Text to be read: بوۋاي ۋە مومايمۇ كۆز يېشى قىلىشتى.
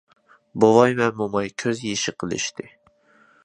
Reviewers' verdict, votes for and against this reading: rejected, 0, 2